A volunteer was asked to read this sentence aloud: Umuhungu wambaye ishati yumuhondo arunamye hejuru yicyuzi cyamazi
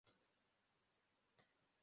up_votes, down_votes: 0, 2